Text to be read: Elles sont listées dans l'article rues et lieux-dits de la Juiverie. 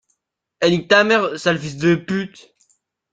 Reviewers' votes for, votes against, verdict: 0, 2, rejected